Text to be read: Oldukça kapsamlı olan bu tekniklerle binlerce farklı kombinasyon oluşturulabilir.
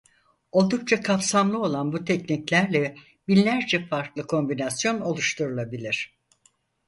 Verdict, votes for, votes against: accepted, 4, 0